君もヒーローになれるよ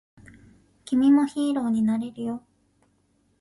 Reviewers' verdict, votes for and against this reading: accepted, 2, 0